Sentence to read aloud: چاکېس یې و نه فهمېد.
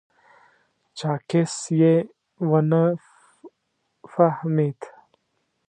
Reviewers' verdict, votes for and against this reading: rejected, 1, 2